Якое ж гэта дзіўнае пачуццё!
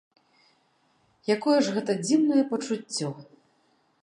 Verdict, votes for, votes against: accepted, 2, 0